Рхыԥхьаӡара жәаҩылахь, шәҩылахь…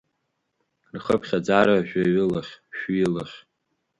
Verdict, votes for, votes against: accepted, 5, 1